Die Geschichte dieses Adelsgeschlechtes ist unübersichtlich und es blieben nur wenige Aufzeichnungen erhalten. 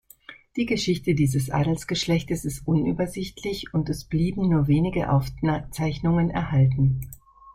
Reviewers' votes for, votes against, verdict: 1, 2, rejected